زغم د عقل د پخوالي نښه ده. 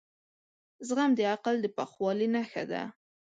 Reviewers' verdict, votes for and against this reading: accepted, 2, 0